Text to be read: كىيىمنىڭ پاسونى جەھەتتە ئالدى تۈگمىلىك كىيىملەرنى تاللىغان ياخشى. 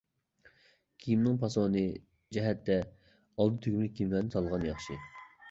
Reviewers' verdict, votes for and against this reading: rejected, 0, 2